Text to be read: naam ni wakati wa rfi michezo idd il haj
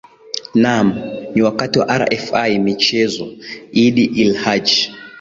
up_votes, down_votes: 3, 3